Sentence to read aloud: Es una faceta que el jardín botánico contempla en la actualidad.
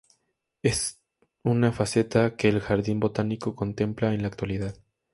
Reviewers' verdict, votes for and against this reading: accepted, 2, 0